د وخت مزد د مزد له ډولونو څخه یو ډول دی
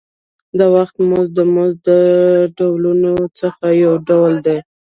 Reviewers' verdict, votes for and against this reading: rejected, 1, 2